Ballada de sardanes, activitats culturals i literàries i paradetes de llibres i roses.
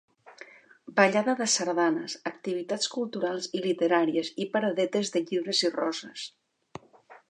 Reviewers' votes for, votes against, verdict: 2, 0, accepted